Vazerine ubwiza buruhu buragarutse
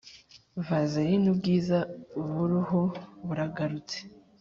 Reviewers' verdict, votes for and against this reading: accepted, 3, 0